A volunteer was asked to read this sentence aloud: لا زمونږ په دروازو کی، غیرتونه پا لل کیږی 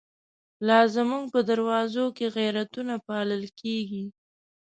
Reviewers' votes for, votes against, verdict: 0, 2, rejected